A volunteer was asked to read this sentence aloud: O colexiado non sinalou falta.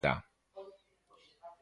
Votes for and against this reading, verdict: 0, 2, rejected